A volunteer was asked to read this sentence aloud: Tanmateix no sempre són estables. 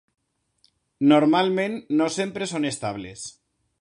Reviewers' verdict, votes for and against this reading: rejected, 0, 2